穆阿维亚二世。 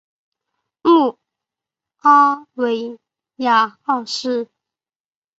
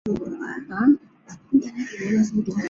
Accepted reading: first